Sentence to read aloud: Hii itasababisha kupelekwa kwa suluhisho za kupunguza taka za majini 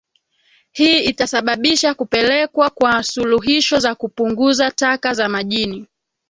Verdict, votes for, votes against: rejected, 1, 2